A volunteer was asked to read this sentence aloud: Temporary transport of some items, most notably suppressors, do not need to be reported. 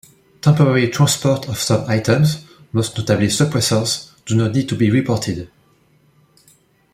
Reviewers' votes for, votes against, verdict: 2, 0, accepted